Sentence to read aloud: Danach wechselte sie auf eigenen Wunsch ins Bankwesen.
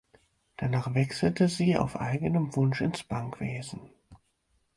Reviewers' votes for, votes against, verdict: 6, 0, accepted